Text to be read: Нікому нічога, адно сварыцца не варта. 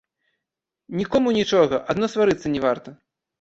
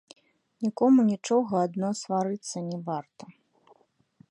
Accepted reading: first